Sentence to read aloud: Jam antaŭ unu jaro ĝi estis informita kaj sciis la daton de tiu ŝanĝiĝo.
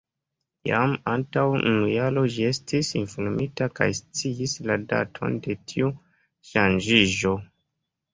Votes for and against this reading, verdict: 1, 3, rejected